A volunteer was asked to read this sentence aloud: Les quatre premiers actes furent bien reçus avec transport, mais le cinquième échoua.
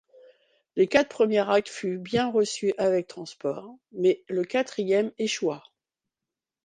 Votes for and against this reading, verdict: 0, 2, rejected